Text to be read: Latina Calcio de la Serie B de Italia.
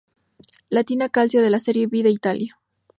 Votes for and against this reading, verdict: 0, 2, rejected